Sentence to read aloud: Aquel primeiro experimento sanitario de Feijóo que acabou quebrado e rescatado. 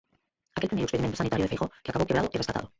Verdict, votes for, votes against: rejected, 0, 4